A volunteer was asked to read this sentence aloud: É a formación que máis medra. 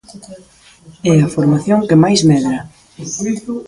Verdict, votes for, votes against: rejected, 0, 2